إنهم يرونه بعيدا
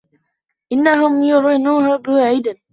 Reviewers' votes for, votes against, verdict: 0, 2, rejected